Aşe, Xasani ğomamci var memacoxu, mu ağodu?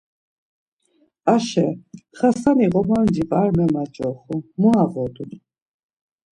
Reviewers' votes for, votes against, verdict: 2, 0, accepted